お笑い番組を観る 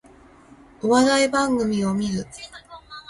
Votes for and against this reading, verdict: 2, 0, accepted